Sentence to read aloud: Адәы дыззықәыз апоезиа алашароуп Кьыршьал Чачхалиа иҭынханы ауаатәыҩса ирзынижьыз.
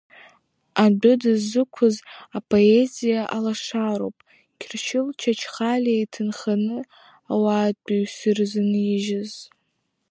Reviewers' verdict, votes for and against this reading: rejected, 0, 2